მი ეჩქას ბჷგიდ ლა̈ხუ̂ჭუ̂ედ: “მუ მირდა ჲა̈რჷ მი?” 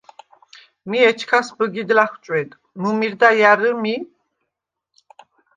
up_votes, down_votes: 2, 0